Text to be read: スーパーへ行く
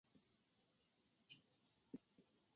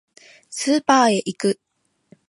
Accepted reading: second